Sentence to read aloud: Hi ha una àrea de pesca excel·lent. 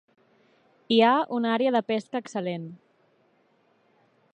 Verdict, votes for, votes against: accepted, 2, 0